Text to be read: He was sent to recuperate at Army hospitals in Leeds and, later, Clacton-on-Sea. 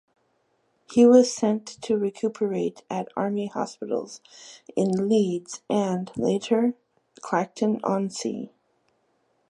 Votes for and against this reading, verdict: 2, 0, accepted